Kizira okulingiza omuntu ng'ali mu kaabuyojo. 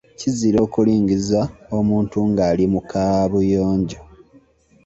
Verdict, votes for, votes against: accepted, 2, 0